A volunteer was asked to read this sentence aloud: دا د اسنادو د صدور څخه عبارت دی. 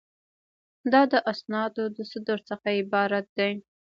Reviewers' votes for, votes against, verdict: 1, 2, rejected